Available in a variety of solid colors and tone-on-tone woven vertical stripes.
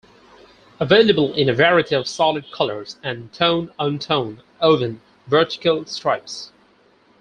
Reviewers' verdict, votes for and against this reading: rejected, 0, 4